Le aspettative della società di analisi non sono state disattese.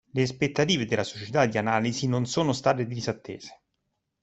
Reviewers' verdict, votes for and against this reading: accepted, 2, 0